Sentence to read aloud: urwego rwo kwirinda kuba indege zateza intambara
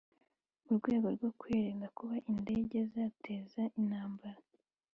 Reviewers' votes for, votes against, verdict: 2, 1, accepted